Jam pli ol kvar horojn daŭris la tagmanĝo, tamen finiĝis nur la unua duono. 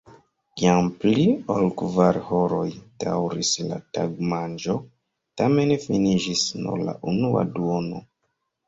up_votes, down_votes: 1, 2